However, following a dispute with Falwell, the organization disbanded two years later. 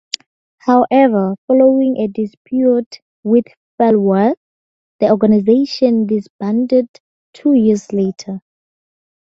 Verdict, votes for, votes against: accepted, 2, 0